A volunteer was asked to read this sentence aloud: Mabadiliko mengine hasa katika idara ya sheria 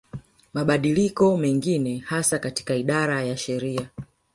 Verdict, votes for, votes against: rejected, 0, 2